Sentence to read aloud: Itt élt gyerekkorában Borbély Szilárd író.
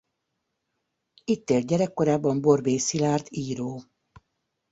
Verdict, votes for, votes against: accepted, 2, 0